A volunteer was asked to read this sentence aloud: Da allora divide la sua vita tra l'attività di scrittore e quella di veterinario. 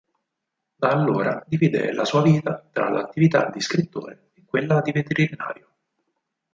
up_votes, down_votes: 2, 4